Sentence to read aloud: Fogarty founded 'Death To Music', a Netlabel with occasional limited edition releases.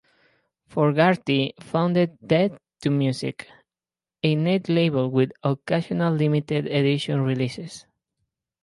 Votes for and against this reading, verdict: 2, 0, accepted